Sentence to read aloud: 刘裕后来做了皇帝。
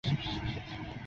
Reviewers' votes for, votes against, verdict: 0, 6, rejected